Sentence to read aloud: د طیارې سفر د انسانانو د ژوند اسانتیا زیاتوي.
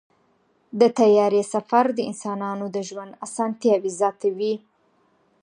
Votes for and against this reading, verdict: 2, 0, accepted